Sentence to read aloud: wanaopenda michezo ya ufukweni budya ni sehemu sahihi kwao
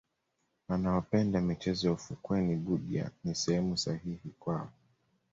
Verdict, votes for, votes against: accepted, 2, 0